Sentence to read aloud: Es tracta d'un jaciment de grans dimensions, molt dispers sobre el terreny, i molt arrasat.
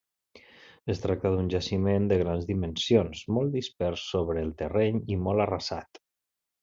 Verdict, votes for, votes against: accepted, 3, 0